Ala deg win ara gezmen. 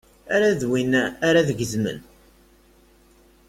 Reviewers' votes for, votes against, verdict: 0, 2, rejected